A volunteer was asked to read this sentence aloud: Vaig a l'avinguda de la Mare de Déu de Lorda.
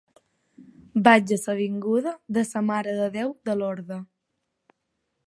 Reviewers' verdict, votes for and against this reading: rejected, 5, 10